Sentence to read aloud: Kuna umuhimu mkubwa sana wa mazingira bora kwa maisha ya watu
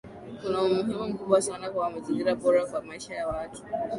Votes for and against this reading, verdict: 2, 0, accepted